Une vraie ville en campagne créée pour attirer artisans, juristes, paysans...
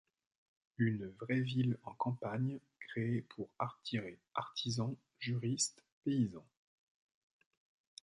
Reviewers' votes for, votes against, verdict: 0, 2, rejected